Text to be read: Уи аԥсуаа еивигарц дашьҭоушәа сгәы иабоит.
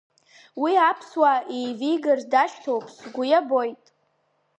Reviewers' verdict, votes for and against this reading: accepted, 2, 0